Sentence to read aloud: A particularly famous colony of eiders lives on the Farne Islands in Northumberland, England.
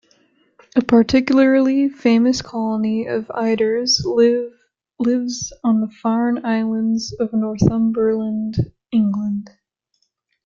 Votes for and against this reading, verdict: 0, 2, rejected